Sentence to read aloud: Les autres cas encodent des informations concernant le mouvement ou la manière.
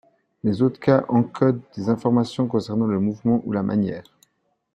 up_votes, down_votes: 2, 0